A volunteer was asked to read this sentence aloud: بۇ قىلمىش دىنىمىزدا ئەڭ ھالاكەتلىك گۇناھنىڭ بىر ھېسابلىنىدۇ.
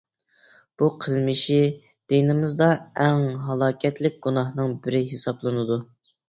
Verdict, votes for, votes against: rejected, 0, 2